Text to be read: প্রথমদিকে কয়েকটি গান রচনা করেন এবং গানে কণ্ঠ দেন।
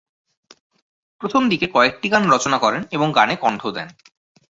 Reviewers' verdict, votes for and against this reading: accepted, 2, 0